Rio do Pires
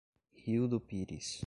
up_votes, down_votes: 2, 0